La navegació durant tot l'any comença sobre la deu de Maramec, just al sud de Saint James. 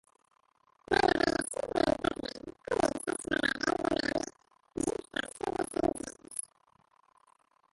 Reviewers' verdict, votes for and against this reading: rejected, 0, 2